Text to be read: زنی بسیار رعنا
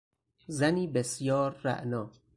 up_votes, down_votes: 4, 0